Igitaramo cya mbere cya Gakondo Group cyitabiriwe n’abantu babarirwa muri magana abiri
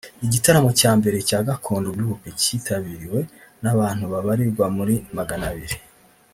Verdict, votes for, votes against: rejected, 1, 2